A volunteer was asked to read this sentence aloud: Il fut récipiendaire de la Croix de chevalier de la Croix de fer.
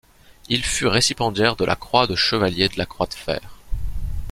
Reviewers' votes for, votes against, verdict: 1, 2, rejected